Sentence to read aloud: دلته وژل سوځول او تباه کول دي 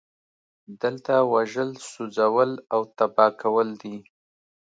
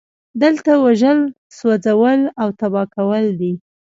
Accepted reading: first